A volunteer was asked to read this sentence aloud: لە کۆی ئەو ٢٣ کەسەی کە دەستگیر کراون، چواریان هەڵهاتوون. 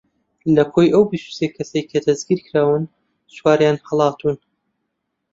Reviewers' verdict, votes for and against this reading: rejected, 0, 2